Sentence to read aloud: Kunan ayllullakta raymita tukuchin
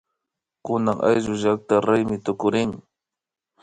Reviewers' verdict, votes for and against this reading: accepted, 2, 1